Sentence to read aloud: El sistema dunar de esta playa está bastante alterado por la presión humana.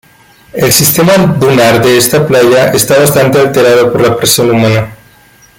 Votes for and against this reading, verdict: 2, 1, accepted